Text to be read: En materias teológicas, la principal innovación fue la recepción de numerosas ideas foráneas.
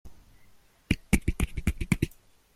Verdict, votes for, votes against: rejected, 0, 2